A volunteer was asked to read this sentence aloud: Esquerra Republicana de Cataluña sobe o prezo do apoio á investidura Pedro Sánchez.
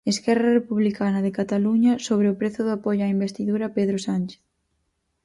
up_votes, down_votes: 2, 2